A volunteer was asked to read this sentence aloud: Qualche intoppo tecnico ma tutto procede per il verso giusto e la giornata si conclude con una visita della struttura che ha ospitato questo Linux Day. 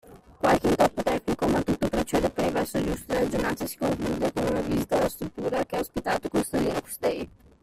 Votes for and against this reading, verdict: 0, 2, rejected